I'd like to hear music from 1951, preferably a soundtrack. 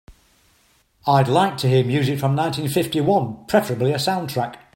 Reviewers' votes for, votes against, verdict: 0, 2, rejected